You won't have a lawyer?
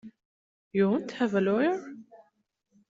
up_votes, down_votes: 2, 0